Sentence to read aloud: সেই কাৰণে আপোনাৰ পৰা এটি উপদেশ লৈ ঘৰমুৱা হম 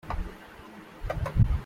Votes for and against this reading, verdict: 0, 2, rejected